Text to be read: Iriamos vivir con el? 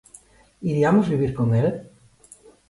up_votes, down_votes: 2, 0